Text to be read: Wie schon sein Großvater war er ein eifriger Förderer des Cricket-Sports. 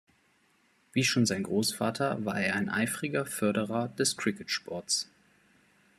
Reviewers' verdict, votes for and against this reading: accepted, 2, 0